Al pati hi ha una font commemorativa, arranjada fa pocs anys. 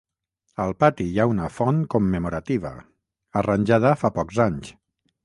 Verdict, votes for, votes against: accepted, 6, 0